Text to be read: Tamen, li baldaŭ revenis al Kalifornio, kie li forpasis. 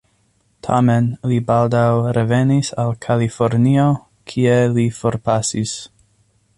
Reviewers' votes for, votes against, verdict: 2, 0, accepted